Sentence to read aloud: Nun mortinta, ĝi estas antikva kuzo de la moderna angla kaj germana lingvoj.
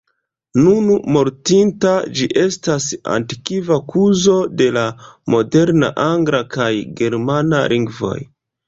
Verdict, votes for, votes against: rejected, 1, 2